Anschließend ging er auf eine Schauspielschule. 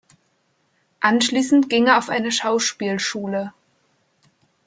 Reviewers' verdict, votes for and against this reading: accepted, 2, 0